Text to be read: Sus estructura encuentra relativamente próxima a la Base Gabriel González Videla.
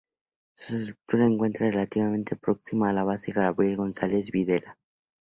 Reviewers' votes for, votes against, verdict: 2, 0, accepted